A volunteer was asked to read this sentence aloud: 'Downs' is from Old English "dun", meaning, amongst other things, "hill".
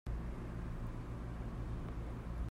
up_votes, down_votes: 0, 2